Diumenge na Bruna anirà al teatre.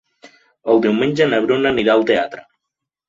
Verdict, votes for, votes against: rejected, 1, 2